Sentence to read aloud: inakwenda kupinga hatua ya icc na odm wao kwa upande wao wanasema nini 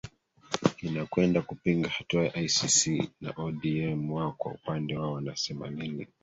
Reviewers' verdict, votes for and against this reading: accepted, 2, 1